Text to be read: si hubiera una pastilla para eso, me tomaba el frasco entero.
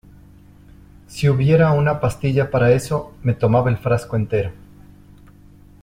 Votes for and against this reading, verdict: 2, 0, accepted